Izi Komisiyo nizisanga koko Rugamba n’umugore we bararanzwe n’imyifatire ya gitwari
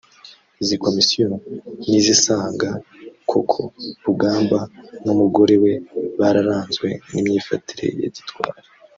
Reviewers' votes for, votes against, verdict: 0, 2, rejected